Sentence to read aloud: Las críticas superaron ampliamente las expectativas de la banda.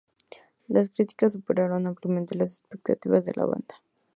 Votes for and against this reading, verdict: 0, 2, rejected